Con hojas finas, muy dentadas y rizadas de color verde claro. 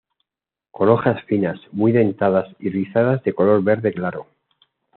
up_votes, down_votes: 2, 0